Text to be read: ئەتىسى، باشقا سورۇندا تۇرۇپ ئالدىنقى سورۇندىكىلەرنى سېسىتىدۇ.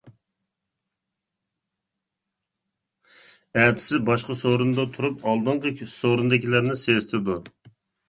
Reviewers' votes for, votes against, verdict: 0, 2, rejected